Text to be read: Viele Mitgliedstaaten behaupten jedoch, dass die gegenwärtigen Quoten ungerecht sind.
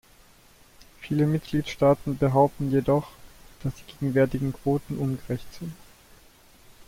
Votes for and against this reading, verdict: 2, 0, accepted